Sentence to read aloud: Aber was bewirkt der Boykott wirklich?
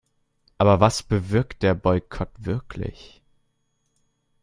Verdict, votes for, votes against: accepted, 2, 0